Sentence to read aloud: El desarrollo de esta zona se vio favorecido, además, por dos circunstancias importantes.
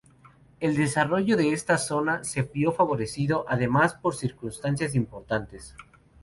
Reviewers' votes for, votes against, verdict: 0, 2, rejected